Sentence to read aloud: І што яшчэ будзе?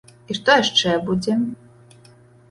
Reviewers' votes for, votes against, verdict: 2, 0, accepted